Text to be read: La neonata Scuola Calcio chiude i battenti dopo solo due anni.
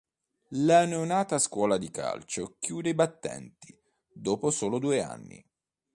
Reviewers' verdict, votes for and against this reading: rejected, 0, 2